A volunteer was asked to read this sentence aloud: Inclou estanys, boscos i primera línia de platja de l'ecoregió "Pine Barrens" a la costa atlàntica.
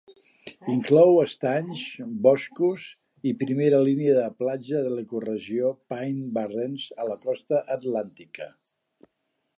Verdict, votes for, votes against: accepted, 2, 0